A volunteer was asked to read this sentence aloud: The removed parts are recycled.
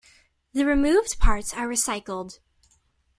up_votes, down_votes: 2, 0